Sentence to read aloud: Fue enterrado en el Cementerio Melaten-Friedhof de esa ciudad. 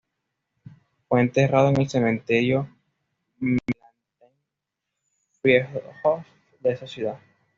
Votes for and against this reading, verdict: 1, 2, rejected